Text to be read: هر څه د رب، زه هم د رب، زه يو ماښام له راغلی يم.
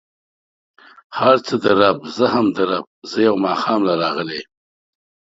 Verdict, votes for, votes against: accepted, 3, 0